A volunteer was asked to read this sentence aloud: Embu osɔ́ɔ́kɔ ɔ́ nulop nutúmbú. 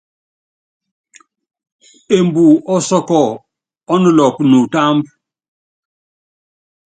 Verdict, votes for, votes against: accepted, 2, 0